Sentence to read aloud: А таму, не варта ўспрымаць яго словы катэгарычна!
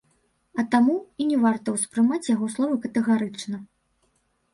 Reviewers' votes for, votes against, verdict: 1, 2, rejected